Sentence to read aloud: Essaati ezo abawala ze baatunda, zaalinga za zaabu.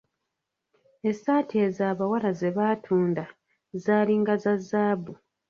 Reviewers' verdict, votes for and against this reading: rejected, 1, 2